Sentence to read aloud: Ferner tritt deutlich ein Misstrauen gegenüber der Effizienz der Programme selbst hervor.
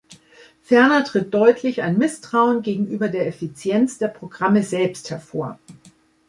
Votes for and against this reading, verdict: 2, 0, accepted